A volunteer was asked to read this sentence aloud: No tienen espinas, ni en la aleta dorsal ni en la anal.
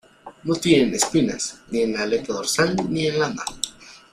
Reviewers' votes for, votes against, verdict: 0, 2, rejected